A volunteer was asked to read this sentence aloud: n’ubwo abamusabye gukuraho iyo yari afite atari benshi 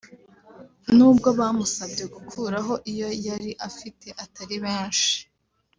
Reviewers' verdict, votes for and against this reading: accepted, 3, 0